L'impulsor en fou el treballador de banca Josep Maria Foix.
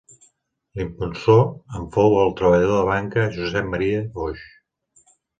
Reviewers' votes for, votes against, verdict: 2, 0, accepted